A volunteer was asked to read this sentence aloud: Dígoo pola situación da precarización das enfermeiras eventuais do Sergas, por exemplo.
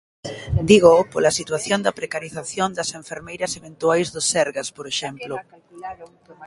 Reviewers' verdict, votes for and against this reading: rejected, 1, 2